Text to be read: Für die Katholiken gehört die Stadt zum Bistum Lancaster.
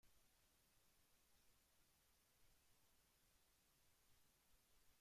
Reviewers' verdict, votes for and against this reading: rejected, 0, 2